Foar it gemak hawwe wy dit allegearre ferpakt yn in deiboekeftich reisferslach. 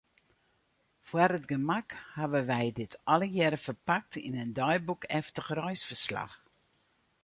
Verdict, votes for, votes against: accepted, 4, 0